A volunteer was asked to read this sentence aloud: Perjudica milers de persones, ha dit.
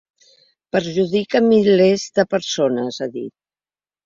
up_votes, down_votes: 3, 0